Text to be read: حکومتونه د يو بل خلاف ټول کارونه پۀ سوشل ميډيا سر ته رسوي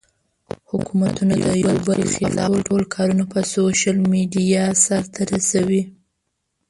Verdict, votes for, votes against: rejected, 0, 2